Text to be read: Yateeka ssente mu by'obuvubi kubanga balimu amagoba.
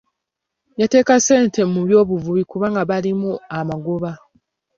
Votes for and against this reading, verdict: 2, 0, accepted